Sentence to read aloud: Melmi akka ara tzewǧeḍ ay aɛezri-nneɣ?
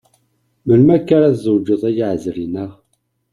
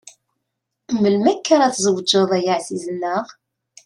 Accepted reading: first